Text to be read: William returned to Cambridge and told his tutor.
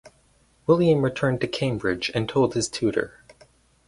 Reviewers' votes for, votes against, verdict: 2, 2, rejected